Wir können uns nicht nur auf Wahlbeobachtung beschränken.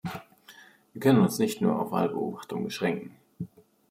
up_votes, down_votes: 1, 2